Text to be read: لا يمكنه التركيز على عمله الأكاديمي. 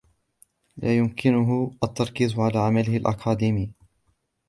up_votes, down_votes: 2, 0